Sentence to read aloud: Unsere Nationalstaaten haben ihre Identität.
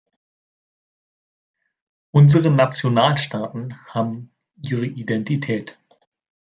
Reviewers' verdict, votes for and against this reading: accepted, 2, 0